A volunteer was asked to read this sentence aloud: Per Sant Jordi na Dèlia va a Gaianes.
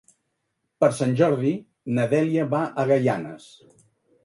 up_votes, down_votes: 2, 0